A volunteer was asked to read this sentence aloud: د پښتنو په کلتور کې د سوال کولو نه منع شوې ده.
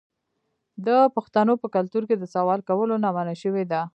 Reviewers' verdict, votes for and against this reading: accepted, 2, 0